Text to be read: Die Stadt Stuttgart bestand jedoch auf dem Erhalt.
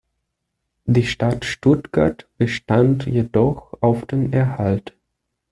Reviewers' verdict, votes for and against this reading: accepted, 2, 0